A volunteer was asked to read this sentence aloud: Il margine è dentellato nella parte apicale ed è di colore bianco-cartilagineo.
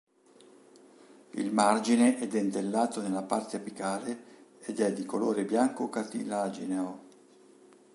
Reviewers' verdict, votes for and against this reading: rejected, 0, 2